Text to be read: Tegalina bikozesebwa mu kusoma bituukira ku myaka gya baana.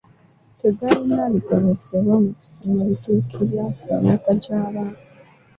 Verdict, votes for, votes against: rejected, 0, 2